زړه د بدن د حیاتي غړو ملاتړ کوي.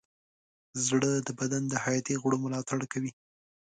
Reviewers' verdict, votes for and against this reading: accepted, 3, 0